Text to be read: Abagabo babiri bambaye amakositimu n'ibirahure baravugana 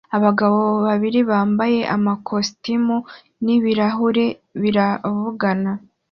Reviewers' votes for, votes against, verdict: 2, 1, accepted